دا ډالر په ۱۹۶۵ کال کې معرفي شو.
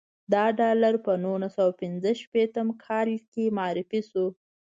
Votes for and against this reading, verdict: 0, 2, rejected